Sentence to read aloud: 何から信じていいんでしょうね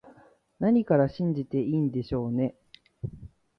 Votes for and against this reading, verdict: 2, 1, accepted